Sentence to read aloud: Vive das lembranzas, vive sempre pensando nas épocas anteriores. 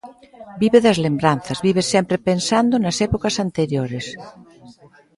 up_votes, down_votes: 0, 2